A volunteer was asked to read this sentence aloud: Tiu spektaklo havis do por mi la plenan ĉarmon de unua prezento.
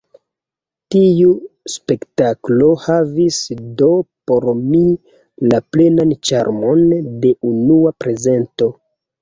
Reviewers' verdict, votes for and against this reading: rejected, 1, 2